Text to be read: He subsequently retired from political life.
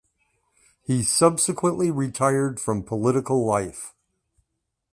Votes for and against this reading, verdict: 2, 0, accepted